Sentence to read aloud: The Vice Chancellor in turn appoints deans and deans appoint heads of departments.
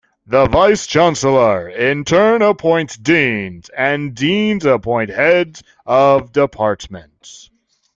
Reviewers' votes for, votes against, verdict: 2, 0, accepted